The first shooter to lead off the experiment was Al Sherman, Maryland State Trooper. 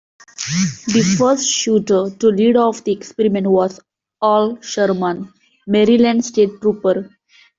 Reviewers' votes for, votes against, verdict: 2, 0, accepted